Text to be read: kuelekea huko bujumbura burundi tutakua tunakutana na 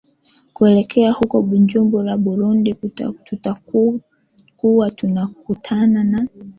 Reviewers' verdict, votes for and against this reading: accepted, 2, 1